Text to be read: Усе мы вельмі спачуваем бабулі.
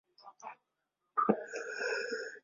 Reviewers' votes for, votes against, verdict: 0, 2, rejected